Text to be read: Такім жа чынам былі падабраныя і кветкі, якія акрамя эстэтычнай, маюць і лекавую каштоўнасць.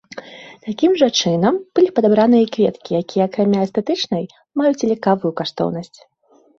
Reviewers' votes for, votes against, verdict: 0, 2, rejected